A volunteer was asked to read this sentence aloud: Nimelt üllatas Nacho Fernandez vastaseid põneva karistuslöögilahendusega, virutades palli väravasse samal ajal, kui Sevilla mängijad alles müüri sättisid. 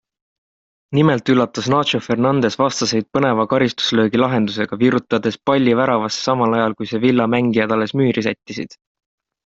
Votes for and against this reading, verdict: 3, 0, accepted